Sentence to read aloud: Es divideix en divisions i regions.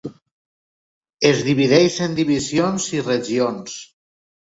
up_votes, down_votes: 3, 0